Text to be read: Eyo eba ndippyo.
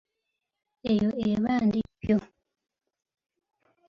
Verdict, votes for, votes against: rejected, 0, 2